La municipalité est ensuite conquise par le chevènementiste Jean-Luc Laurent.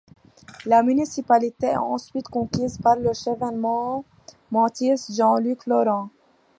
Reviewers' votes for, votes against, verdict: 0, 2, rejected